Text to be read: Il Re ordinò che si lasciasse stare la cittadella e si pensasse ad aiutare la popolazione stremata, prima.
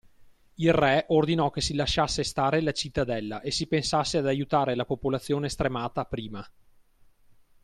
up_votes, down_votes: 2, 0